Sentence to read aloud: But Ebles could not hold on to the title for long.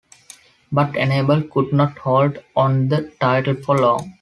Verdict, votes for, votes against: accepted, 2, 1